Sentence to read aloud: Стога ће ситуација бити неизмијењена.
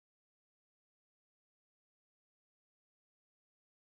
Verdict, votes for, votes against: rejected, 0, 2